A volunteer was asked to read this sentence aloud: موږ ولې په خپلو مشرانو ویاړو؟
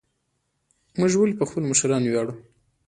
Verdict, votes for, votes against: accepted, 2, 1